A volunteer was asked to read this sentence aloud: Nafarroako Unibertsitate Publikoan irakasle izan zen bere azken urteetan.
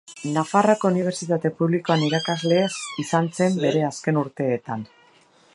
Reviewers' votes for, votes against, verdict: 0, 2, rejected